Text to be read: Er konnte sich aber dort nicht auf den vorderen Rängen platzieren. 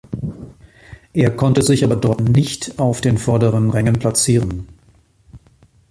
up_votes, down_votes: 2, 1